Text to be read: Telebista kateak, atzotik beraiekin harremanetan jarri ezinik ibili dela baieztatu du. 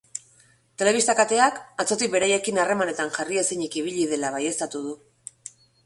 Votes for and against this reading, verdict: 3, 0, accepted